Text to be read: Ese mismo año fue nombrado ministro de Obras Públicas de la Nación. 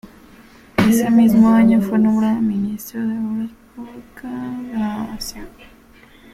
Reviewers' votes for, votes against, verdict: 0, 2, rejected